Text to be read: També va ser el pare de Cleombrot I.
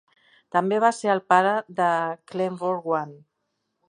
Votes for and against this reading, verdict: 0, 2, rejected